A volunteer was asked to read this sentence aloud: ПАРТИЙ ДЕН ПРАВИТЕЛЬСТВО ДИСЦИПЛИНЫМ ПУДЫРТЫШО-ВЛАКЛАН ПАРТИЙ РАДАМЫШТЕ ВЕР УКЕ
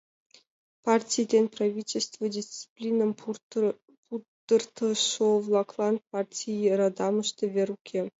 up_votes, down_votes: 1, 2